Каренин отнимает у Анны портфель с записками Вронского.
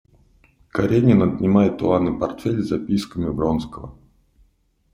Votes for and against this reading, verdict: 1, 2, rejected